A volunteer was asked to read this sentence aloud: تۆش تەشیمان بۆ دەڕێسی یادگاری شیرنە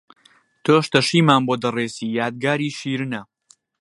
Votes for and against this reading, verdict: 2, 0, accepted